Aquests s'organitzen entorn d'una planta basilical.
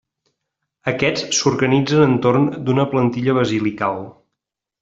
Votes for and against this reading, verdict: 1, 2, rejected